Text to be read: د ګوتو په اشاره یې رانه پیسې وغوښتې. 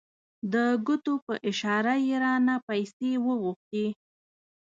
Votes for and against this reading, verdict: 2, 0, accepted